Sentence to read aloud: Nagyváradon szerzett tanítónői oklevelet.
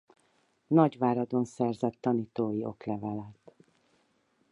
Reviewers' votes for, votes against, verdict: 2, 4, rejected